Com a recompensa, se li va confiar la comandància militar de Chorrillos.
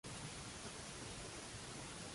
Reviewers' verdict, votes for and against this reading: rejected, 0, 2